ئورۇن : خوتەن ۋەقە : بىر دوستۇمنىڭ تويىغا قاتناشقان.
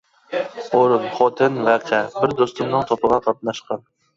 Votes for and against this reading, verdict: 0, 2, rejected